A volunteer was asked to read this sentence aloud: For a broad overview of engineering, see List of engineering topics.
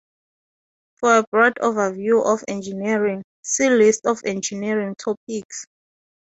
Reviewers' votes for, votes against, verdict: 4, 0, accepted